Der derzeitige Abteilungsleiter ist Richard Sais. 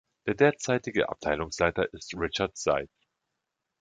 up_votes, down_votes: 1, 2